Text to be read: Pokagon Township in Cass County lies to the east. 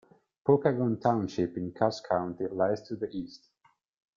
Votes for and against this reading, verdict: 2, 0, accepted